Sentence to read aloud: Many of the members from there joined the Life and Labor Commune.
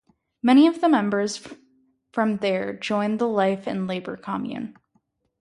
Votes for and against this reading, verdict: 2, 2, rejected